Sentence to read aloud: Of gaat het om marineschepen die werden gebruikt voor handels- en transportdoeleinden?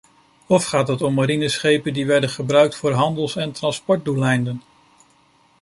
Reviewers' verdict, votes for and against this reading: accepted, 2, 0